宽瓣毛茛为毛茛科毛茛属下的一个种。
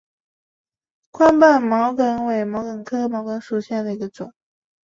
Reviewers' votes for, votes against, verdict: 3, 0, accepted